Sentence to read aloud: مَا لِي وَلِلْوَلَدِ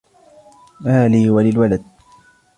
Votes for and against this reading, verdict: 2, 0, accepted